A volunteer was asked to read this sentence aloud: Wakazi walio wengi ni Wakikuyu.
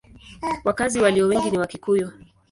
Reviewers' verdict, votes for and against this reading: accepted, 2, 0